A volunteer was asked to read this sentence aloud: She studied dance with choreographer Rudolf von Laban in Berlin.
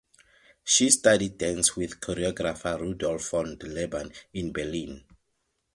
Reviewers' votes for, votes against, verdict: 4, 0, accepted